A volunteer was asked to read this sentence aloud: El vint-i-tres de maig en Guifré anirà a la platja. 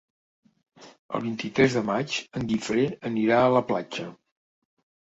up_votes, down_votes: 3, 0